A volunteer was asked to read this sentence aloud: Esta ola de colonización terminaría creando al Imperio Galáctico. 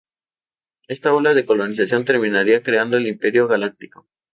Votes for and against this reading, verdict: 0, 2, rejected